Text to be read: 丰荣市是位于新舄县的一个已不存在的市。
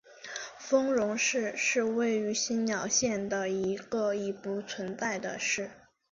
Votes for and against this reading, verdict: 2, 1, accepted